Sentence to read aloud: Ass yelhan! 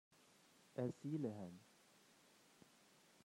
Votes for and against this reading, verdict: 0, 2, rejected